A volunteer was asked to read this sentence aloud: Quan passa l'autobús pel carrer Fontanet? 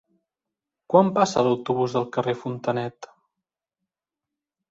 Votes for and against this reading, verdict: 0, 2, rejected